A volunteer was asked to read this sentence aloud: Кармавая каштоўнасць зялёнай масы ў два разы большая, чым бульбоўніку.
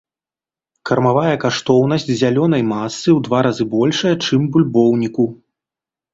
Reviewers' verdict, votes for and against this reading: accepted, 2, 0